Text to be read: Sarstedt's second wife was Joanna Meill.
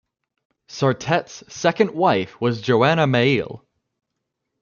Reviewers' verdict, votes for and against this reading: accepted, 2, 0